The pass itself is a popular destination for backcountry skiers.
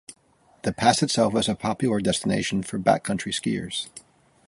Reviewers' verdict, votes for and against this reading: accepted, 2, 0